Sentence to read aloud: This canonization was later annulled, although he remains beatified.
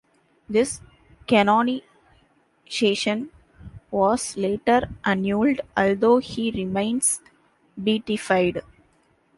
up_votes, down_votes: 0, 2